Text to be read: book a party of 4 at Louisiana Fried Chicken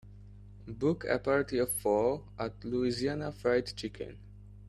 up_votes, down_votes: 0, 2